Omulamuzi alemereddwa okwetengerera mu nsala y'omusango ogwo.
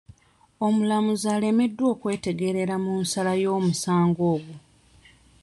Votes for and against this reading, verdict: 1, 2, rejected